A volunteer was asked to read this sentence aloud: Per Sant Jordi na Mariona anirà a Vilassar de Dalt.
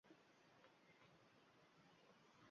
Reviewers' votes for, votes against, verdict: 0, 2, rejected